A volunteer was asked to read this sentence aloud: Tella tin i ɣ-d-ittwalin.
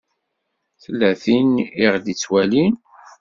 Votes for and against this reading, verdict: 2, 0, accepted